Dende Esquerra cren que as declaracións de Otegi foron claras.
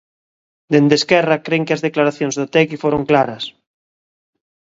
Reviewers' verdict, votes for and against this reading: accepted, 2, 0